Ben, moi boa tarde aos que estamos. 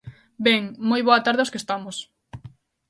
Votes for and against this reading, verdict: 3, 0, accepted